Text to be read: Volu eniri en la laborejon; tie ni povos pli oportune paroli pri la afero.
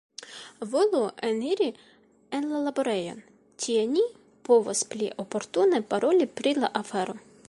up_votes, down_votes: 2, 1